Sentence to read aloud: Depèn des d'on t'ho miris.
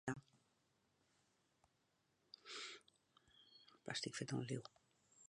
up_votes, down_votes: 0, 3